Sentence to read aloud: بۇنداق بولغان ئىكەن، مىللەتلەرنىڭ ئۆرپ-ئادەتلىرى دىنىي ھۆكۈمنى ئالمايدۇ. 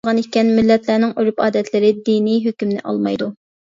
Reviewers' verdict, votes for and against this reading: rejected, 0, 2